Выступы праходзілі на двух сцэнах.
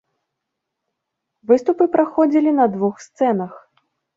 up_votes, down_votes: 2, 0